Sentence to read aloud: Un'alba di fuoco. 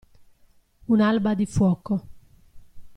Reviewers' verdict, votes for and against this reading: accepted, 2, 0